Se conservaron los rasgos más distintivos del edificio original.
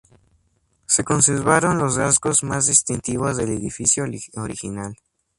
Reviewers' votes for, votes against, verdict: 2, 0, accepted